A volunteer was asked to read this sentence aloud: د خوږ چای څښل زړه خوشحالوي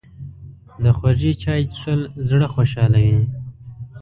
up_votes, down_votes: 3, 0